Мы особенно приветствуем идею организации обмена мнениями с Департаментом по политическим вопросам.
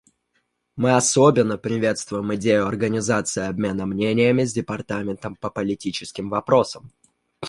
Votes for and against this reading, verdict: 2, 0, accepted